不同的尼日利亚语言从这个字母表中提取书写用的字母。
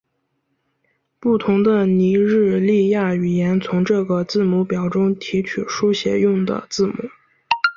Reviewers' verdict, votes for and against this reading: rejected, 1, 2